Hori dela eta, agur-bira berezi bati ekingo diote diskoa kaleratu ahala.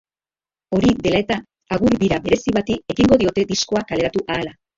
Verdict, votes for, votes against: rejected, 0, 3